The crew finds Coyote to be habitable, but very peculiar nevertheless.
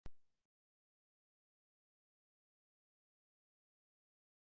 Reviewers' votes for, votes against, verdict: 0, 2, rejected